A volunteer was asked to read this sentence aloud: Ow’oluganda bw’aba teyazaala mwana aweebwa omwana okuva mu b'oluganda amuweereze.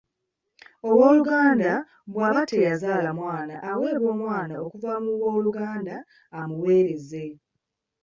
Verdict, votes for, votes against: accepted, 2, 1